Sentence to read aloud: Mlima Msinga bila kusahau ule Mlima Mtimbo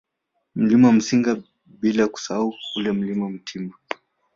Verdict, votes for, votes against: rejected, 1, 2